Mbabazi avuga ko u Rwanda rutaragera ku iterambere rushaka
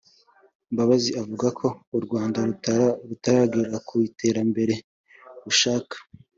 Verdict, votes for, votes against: rejected, 1, 3